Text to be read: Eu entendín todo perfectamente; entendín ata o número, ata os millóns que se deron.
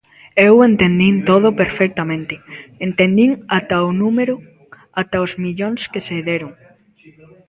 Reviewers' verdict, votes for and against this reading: accepted, 2, 0